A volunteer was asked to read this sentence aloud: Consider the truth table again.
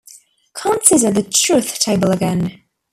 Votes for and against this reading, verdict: 2, 0, accepted